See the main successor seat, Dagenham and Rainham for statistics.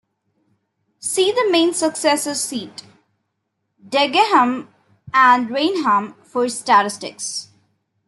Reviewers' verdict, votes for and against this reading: rejected, 0, 2